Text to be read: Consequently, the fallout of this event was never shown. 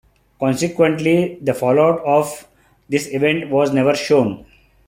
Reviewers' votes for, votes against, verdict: 2, 0, accepted